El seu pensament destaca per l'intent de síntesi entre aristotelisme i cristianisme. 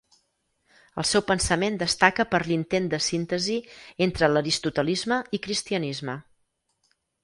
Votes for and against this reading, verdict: 2, 4, rejected